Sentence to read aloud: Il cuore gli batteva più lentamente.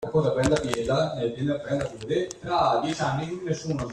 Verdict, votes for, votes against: rejected, 0, 2